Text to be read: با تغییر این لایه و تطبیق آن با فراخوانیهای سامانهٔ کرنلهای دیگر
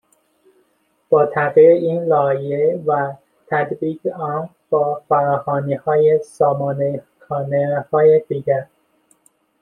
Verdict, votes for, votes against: rejected, 0, 2